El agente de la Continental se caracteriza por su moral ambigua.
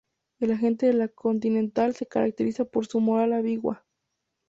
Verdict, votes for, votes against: accepted, 2, 0